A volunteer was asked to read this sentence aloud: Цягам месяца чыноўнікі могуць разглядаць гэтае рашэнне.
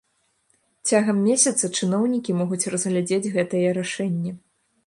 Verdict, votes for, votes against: rejected, 1, 2